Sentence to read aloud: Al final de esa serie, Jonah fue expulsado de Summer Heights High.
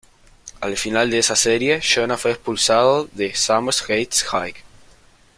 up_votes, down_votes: 0, 2